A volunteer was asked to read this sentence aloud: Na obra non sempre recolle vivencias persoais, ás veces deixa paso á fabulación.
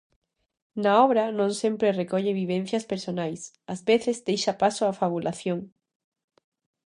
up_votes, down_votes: 0, 2